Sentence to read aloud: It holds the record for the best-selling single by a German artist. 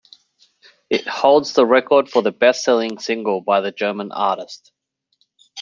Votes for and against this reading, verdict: 2, 1, accepted